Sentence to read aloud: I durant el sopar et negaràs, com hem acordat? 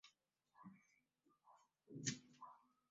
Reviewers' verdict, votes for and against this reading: rejected, 1, 2